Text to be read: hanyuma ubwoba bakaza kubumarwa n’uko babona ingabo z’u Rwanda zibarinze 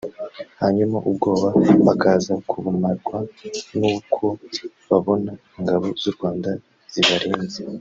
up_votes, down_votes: 0, 2